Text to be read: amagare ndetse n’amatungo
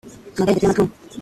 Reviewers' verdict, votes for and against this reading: rejected, 0, 2